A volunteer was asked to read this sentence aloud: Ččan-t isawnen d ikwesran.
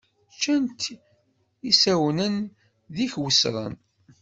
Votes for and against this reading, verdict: 0, 2, rejected